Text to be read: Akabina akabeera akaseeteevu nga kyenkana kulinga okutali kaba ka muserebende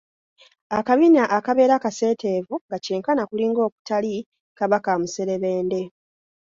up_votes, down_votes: 2, 0